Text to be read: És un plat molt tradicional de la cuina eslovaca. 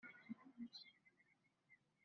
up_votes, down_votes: 0, 2